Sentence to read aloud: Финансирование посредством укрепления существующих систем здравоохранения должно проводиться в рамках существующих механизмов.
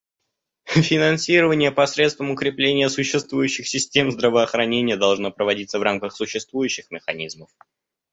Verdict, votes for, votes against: rejected, 1, 2